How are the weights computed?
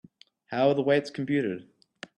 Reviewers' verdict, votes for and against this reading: rejected, 1, 2